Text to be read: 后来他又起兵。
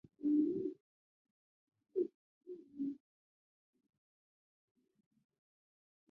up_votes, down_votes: 0, 4